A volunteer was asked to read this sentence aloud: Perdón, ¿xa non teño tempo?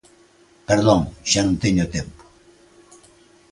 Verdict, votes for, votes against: accepted, 2, 1